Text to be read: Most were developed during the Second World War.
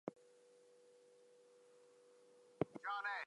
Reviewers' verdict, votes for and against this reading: rejected, 0, 4